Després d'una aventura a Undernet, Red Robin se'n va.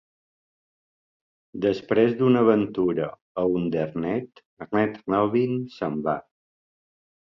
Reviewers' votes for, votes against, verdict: 1, 2, rejected